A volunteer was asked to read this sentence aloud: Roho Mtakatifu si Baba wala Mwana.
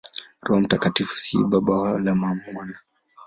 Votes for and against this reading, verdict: 2, 0, accepted